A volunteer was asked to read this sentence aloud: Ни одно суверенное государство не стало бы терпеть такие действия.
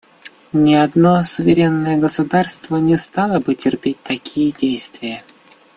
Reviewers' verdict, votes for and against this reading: rejected, 1, 2